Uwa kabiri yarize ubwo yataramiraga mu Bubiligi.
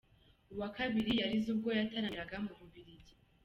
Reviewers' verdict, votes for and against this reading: accepted, 2, 0